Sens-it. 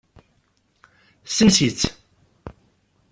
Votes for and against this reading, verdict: 0, 2, rejected